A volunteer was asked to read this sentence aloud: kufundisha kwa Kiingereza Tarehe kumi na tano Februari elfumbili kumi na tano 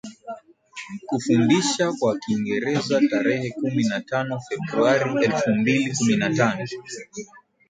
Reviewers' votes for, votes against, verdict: 0, 2, rejected